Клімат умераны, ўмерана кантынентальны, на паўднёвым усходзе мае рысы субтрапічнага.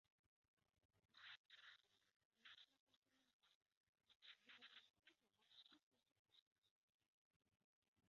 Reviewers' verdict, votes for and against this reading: rejected, 0, 2